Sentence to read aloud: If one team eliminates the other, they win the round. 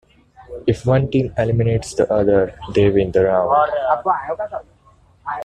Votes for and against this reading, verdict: 0, 2, rejected